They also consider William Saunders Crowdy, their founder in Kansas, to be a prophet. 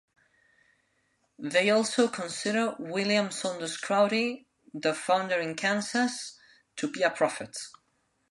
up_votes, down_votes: 2, 0